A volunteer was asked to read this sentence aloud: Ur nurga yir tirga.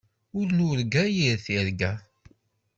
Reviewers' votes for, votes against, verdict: 2, 0, accepted